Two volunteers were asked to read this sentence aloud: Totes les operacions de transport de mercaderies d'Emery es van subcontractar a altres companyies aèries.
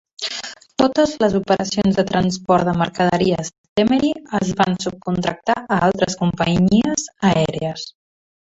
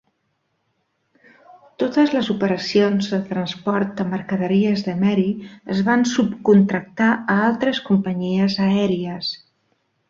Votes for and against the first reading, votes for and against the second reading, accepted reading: 1, 2, 2, 0, second